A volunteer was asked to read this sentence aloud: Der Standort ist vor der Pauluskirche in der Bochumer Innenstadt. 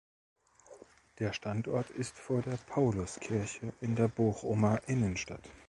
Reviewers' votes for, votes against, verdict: 2, 0, accepted